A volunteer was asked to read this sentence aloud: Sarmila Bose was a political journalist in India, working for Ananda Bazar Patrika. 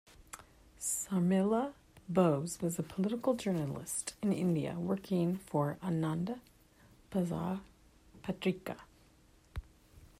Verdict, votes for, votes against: accepted, 2, 0